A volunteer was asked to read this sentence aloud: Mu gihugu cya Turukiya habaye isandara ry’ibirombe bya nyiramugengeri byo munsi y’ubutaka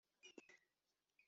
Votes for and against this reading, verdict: 0, 2, rejected